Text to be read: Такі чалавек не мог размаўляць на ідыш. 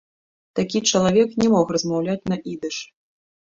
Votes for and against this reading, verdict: 2, 1, accepted